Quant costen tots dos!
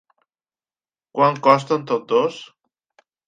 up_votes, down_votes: 0, 2